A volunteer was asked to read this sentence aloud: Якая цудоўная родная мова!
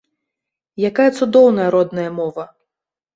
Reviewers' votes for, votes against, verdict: 2, 0, accepted